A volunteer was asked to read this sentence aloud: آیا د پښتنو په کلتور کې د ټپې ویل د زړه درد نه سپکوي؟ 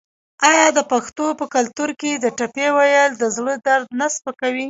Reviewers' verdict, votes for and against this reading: rejected, 1, 2